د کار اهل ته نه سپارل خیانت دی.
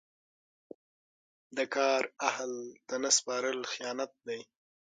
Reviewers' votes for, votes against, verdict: 6, 3, accepted